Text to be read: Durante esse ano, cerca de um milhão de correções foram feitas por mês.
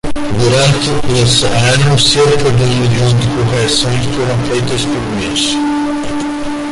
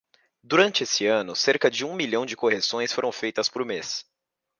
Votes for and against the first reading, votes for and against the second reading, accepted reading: 0, 2, 2, 0, second